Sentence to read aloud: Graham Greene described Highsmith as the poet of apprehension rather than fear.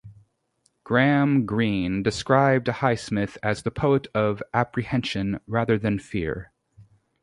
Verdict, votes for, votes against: accepted, 2, 0